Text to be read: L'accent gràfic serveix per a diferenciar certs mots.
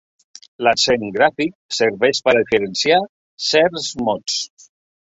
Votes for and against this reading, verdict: 2, 1, accepted